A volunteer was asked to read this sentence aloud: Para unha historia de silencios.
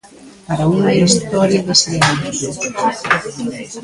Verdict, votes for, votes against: rejected, 0, 2